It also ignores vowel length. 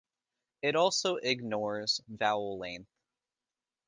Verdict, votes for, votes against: rejected, 1, 2